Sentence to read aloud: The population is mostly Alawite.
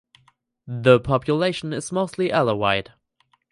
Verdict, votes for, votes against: accepted, 4, 0